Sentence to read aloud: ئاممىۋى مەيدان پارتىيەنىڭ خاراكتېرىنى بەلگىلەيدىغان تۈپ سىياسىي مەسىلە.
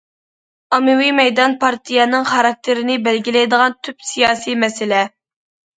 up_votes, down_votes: 2, 0